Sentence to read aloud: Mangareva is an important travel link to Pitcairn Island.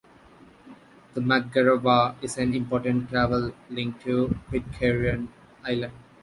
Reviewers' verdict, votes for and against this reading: accepted, 2, 1